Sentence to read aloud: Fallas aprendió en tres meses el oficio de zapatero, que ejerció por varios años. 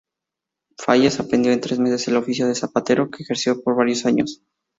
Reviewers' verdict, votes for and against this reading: rejected, 2, 2